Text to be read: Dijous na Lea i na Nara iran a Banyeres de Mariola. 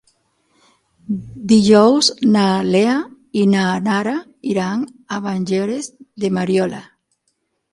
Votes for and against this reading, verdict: 3, 6, rejected